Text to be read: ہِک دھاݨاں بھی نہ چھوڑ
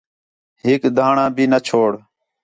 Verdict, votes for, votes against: accepted, 4, 0